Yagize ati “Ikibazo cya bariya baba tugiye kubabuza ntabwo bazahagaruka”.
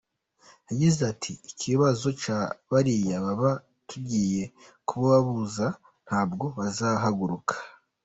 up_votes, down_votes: 1, 2